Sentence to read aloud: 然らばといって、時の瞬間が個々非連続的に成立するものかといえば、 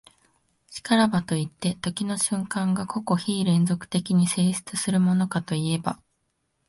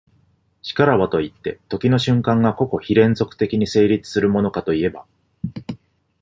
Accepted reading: second